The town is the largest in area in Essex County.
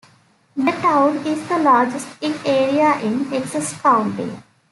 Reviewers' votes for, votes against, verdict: 0, 2, rejected